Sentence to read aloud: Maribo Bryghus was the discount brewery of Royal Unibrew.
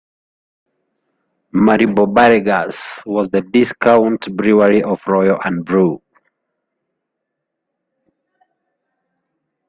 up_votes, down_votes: 1, 2